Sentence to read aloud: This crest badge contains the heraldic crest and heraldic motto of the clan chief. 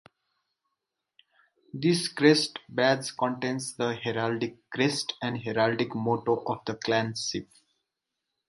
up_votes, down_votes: 0, 4